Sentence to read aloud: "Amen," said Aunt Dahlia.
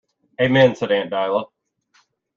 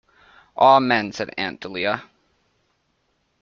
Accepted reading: second